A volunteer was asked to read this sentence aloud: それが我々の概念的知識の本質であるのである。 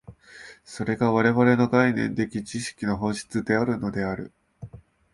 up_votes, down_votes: 2, 0